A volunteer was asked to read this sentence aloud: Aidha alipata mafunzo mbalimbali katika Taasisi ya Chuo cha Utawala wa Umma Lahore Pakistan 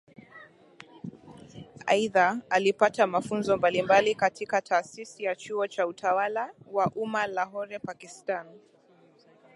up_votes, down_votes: 2, 0